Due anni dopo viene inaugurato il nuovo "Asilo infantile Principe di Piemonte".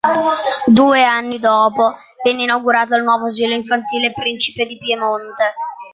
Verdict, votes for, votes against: accepted, 2, 1